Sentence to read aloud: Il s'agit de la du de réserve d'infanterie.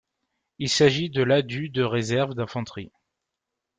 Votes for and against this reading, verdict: 2, 0, accepted